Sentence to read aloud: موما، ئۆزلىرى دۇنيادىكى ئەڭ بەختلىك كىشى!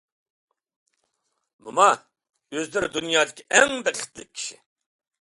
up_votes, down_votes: 2, 1